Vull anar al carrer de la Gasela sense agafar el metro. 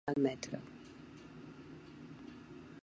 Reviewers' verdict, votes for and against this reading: rejected, 0, 2